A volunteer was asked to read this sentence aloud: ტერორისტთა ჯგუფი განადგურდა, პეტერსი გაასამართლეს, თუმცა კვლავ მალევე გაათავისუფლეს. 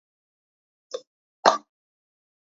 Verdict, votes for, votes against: accepted, 2, 0